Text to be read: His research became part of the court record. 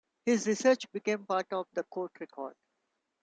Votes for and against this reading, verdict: 2, 0, accepted